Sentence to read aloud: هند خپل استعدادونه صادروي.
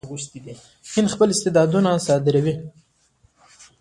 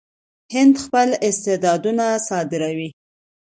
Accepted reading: second